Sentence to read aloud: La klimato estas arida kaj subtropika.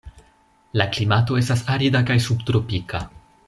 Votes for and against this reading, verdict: 2, 0, accepted